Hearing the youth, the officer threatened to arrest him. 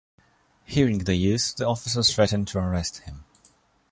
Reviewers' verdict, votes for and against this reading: accepted, 2, 0